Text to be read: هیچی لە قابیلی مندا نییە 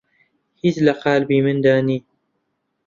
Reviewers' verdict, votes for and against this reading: rejected, 1, 2